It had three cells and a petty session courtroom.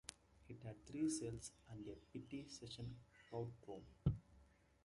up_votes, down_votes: 0, 2